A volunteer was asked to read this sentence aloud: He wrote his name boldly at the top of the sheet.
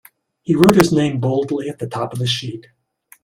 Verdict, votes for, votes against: rejected, 1, 2